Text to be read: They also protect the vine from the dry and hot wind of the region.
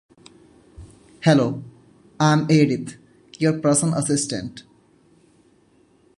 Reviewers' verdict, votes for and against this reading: rejected, 0, 2